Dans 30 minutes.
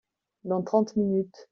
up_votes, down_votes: 0, 2